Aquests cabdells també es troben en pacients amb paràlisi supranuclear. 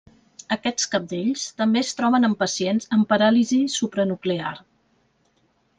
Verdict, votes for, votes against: accepted, 3, 0